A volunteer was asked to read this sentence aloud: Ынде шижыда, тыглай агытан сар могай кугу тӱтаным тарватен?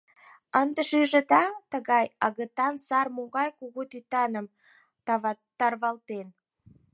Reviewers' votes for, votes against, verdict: 0, 4, rejected